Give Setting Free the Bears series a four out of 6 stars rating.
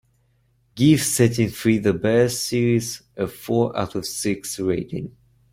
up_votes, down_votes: 0, 2